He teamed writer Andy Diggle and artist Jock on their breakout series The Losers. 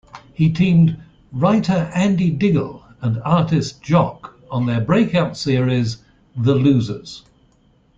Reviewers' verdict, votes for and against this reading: accepted, 2, 0